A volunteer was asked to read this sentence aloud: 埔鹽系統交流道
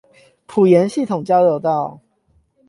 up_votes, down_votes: 8, 0